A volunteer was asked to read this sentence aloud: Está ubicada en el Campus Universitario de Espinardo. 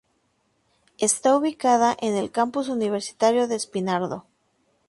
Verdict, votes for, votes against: accepted, 2, 0